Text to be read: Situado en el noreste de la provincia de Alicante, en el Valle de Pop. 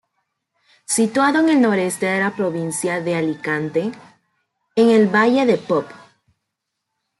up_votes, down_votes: 2, 0